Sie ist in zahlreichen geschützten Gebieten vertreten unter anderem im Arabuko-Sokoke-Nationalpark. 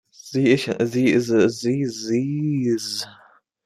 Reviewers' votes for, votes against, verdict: 0, 2, rejected